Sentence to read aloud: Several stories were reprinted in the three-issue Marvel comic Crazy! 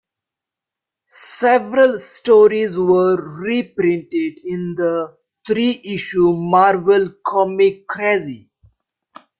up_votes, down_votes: 1, 2